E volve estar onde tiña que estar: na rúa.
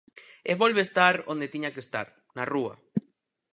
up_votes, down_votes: 4, 0